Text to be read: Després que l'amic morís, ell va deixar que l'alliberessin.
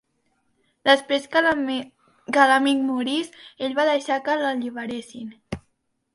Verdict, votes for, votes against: rejected, 0, 2